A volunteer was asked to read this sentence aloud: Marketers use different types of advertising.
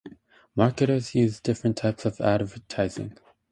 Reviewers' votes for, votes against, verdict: 0, 2, rejected